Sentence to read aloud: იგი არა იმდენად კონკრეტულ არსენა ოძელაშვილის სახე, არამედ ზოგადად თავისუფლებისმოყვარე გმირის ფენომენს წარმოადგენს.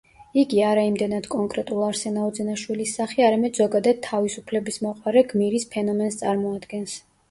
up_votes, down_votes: 0, 2